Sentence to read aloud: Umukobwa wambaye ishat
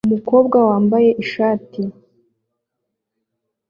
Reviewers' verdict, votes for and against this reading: accepted, 2, 0